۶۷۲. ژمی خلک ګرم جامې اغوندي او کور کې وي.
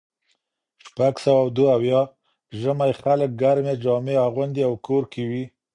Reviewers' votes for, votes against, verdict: 0, 2, rejected